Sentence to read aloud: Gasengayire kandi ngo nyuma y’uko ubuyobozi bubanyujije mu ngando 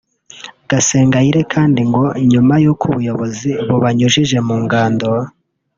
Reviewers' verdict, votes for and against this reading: rejected, 0, 2